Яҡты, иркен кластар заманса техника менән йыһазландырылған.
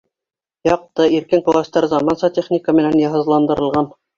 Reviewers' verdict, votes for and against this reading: accepted, 2, 0